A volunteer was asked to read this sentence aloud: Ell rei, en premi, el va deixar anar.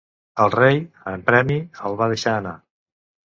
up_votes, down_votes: 2, 0